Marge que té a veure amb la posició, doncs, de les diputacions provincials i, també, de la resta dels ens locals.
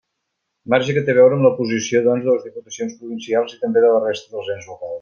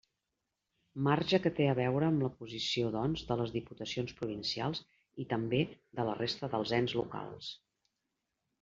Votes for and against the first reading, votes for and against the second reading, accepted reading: 0, 2, 2, 0, second